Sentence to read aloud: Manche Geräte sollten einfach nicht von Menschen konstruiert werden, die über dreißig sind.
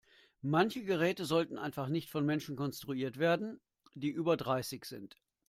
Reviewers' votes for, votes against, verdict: 2, 1, accepted